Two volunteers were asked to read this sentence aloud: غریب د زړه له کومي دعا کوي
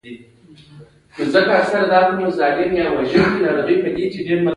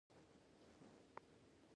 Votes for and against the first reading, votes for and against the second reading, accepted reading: 2, 1, 0, 2, first